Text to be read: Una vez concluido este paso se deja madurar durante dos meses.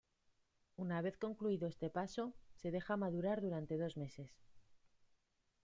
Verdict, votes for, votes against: rejected, 0, 2